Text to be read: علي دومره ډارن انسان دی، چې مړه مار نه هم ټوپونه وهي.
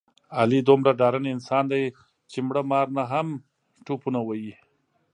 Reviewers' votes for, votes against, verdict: 3, 1, accepted